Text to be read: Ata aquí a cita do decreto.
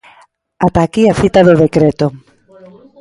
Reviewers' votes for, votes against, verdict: 2, 1, accepted